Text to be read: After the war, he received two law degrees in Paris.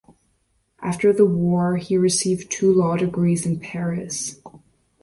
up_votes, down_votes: 2, 0